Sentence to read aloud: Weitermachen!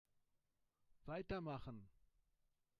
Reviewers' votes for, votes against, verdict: 3, 1, accepted